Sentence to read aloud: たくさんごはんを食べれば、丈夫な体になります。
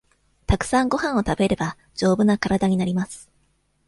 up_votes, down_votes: 2, 0